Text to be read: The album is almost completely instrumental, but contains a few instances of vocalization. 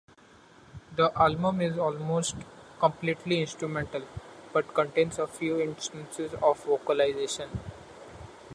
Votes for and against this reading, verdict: 2, 0, accepted